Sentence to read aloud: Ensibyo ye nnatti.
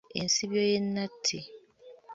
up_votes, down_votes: 1, 2